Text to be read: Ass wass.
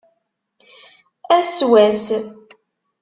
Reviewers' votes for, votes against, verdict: 2, 0, accepted